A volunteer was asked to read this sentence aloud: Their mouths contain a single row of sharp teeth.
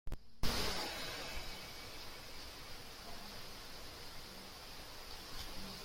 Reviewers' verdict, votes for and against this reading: rejected, 0, 4